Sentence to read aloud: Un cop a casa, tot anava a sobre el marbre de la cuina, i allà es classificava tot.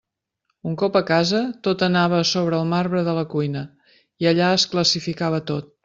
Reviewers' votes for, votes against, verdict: 2, 0, accepted